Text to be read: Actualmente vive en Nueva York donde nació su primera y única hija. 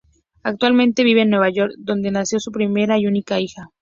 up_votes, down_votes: 0, 2